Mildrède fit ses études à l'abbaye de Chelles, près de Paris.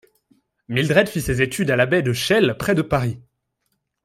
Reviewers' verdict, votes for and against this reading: rejected, 1, 2